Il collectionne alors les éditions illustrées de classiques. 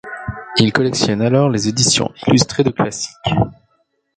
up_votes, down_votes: 0, 2